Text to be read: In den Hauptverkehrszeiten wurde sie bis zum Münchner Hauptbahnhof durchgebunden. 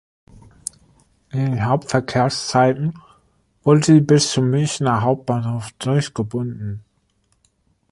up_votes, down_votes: 1, 2